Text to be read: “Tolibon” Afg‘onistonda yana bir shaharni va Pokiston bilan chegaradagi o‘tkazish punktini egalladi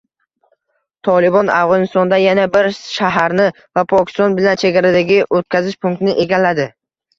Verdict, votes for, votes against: accepted, 2, 0